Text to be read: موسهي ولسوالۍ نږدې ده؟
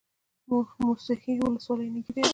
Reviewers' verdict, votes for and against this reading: accepted, 2, 0